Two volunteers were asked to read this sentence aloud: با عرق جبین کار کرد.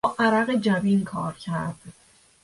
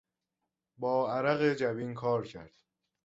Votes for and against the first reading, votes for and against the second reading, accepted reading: 1, 2, 2, 0, second